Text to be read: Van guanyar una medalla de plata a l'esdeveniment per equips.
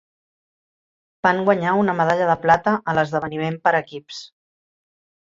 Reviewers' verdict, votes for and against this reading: accepted, 2, 0